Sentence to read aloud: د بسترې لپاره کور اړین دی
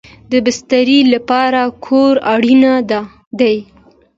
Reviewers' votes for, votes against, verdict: 2, 0, accepted